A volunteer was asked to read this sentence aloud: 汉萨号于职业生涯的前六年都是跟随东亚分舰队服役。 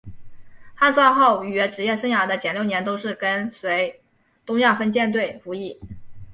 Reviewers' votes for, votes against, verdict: 2, 1, accepted